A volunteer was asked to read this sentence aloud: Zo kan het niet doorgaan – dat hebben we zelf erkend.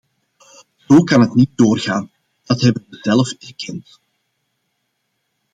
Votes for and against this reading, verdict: 0, 2, rejected